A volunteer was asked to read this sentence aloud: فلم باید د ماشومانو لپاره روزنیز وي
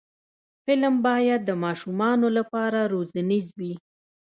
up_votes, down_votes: 0, 2